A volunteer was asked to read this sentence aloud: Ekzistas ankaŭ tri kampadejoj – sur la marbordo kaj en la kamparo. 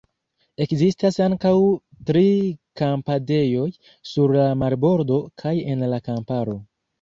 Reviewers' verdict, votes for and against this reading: accepted, 2, 1